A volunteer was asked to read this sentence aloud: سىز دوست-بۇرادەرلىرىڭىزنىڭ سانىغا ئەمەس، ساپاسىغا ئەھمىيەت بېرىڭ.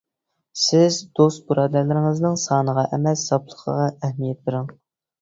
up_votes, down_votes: 0, 2